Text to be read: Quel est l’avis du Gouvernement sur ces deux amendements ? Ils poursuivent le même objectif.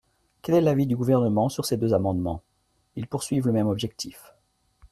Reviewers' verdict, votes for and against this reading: accepted, 2, 0